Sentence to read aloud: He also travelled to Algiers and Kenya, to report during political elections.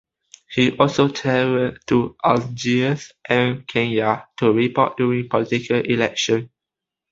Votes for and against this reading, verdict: 0, 2, rejected